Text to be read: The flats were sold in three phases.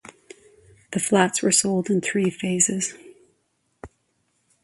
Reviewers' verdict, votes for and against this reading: accepted, 2, 0